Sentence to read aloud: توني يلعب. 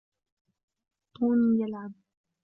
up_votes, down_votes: 2, 0